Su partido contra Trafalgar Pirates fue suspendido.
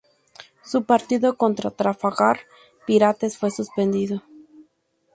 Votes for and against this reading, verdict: 0, 2, rejected